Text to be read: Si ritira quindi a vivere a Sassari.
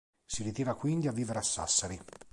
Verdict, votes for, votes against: accepted, 2, 0